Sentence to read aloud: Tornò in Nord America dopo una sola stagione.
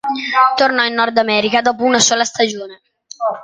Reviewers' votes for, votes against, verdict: 2, 1, accepted